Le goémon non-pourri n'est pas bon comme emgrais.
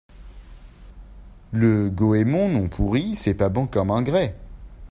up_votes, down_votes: 1, 2